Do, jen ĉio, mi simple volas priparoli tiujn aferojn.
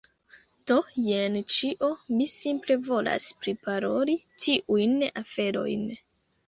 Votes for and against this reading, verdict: 2, 0, accepted